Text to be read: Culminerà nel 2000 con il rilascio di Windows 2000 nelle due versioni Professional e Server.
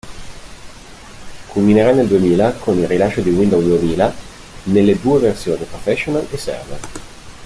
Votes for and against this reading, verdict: 0, 2, rejected